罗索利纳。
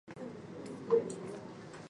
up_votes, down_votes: 0, 2